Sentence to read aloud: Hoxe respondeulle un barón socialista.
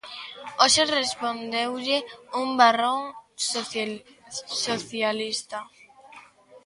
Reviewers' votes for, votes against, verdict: 0, 2, rejected